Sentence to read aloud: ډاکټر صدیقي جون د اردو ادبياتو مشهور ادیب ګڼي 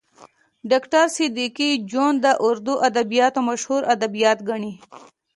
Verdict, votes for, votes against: rejected, 1, 2